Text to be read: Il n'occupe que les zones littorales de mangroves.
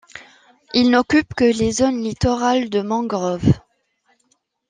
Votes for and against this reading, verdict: 2, 0, accepted